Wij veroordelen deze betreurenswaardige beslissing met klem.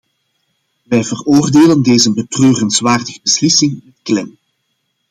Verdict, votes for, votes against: rejected, 0, 2